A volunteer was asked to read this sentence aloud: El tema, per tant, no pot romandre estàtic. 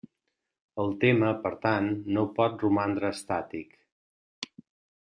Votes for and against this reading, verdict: 3, 0, accepted